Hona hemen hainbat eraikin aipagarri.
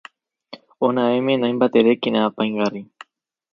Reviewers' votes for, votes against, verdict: 0, 4, rejected